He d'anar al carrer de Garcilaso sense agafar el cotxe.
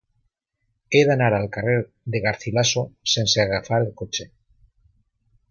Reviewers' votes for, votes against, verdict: 2, 0, accepted